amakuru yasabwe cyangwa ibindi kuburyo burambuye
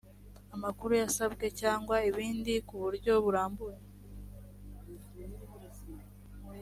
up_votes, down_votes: 2, 0